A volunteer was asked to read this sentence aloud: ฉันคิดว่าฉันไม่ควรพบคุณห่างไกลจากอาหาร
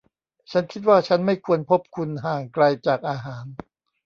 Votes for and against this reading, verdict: 0, 2, rejected